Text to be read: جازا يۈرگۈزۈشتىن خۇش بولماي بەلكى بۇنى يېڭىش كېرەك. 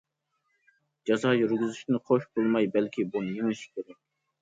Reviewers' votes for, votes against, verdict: 0, 2, rejected